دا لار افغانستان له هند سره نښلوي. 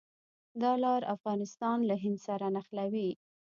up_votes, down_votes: 2, 0